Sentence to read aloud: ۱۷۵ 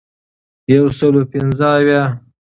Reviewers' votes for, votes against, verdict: 0, 2, rejected